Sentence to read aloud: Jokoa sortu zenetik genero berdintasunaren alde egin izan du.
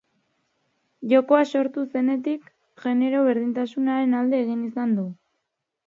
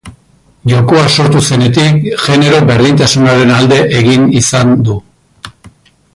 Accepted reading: first